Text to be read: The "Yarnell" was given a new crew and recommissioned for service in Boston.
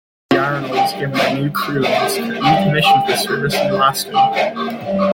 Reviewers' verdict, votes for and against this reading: rejected, 0, 2